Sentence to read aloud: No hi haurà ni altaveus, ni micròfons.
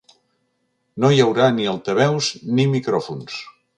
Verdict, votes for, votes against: accepted, 4, 0